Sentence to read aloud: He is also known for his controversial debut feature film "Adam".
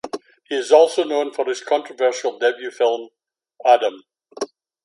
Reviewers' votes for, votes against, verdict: 2, 1, accepted